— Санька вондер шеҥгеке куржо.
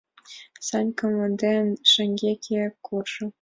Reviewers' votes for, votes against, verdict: 1, 3, rejected